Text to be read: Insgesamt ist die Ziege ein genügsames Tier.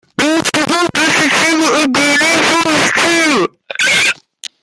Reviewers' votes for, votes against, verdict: 0, 3, rejected